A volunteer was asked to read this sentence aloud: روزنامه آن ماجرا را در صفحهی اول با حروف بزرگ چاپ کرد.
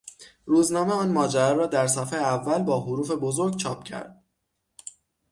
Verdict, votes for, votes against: accepted, 6, 0